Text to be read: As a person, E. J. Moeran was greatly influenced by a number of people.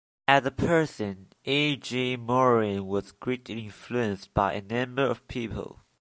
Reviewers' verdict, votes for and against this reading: rejected, 1, 2